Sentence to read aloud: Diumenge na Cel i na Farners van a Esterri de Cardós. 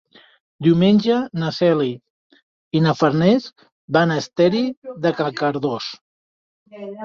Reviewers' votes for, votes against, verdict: 0, 2, rejected